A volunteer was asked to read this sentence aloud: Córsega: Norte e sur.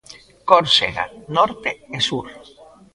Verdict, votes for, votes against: accepted, 2, 0